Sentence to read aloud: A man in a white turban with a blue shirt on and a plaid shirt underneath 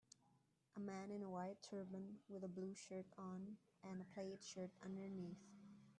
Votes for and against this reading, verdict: 2, 0, accepted